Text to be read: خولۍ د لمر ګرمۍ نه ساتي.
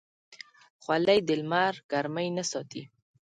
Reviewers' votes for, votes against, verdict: 3, 0, accepted